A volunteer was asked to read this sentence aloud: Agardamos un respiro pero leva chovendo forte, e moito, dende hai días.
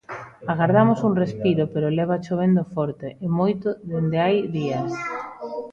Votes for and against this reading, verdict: 2, 0, accepted